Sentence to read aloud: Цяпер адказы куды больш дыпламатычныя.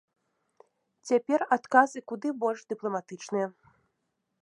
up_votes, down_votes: 2, 0